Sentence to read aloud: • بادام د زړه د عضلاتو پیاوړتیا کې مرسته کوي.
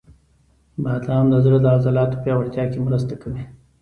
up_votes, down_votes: 2, 0